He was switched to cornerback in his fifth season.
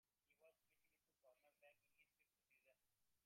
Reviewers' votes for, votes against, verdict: 1, 2, rejected